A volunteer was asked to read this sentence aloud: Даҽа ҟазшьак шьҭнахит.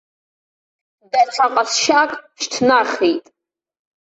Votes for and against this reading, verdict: 2, 0, accepted